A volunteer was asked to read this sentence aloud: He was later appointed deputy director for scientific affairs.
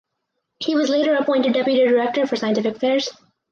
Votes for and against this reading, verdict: 4, 0, accepted